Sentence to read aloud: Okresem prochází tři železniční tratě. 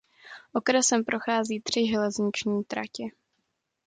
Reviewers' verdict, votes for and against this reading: accepted, 2, 0